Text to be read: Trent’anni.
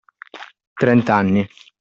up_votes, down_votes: 2, 0